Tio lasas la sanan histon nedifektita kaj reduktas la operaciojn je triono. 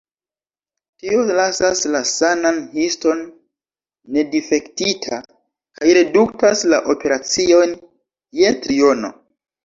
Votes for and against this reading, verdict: 2, 1, accepted